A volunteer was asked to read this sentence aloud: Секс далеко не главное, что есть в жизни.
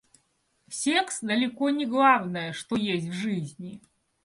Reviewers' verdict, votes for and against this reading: accepted, 2, 0